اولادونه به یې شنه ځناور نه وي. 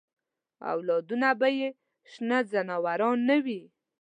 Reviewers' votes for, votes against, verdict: 2, 0, accepted